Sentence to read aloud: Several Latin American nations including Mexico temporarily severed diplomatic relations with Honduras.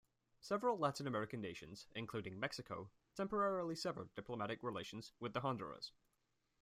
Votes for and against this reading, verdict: 2, 1, accepted